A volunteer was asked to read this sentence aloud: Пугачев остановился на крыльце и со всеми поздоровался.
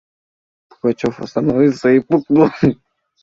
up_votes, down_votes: 0, 2